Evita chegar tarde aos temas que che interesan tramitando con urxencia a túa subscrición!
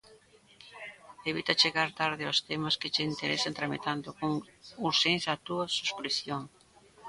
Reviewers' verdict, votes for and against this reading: accepted, 2, 0